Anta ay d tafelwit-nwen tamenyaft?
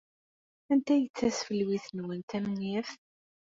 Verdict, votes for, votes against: rejected, 0, 2